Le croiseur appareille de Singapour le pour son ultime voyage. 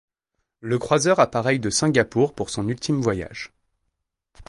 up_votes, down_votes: 1, 2